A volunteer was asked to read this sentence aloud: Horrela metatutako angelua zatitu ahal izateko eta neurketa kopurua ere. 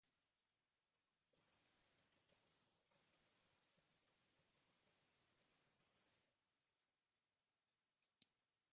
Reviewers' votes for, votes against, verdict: 0, 4, rejected